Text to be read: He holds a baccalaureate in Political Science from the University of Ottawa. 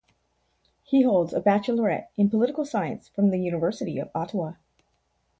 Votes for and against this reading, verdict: 0, 2, rejected